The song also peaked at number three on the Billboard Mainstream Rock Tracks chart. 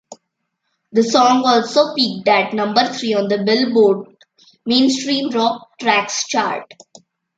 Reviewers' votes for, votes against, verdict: 0, 2, rejected